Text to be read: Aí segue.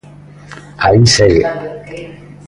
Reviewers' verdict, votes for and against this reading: accepted, 2, 0